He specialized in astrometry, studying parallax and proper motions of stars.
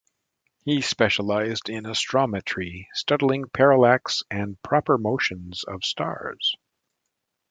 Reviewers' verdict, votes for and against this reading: accepted, 2, 0